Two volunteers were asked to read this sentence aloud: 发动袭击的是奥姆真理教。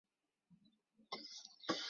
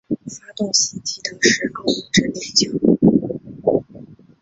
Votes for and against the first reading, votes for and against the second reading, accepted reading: 1, 7, 2, 1, second